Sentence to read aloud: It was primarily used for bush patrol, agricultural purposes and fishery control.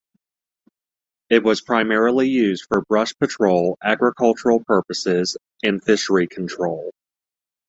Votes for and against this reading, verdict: 1, 2, rejected